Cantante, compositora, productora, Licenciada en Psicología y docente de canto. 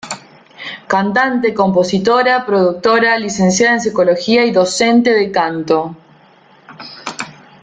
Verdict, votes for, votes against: accepted, 2, 0